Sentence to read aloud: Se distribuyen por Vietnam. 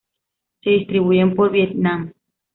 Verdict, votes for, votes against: accepted, 2, 0